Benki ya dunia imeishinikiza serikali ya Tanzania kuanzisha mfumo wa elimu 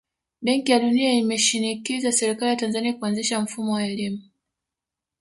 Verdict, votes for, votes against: rejected, 1, 2